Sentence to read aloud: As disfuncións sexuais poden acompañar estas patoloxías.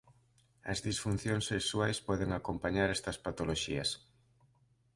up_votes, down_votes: 2, 0